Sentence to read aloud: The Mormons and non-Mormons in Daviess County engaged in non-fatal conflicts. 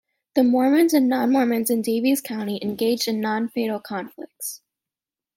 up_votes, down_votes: 2, 0